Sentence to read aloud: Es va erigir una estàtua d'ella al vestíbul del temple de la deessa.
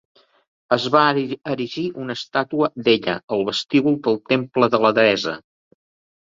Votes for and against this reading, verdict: 1, 2, rejected